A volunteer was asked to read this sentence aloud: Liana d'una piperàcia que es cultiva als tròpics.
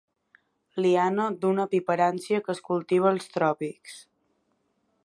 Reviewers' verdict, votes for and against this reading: rejected, 1, 2